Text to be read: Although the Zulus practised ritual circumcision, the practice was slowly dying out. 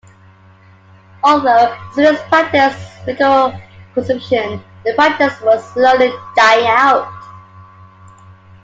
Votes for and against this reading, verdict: 0, 2, rejected